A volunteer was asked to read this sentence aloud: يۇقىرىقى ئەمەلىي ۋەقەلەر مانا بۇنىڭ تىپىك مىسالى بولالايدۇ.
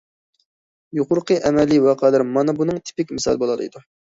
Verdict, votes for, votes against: accepted, 2, 0